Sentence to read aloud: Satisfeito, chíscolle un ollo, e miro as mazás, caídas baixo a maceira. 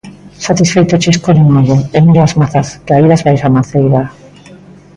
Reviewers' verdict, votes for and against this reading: accepted, 2, 1